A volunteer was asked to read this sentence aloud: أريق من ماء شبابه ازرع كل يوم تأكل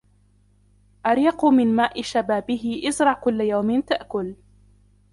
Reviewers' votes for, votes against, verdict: 1, 2, rejected